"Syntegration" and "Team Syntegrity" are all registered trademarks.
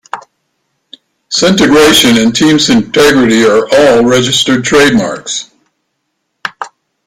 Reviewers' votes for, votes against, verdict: 1, 2, rejected